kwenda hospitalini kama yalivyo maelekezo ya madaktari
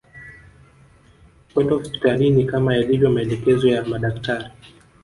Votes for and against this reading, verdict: 1, 2, rejected